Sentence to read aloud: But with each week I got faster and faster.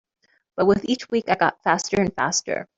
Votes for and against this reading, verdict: 2, 0, accepted